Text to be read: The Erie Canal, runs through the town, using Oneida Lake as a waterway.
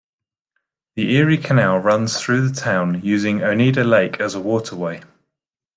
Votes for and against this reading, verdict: 2, 0, accepted